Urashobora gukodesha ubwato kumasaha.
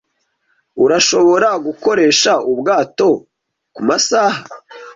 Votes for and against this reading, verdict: 0, 2, rejected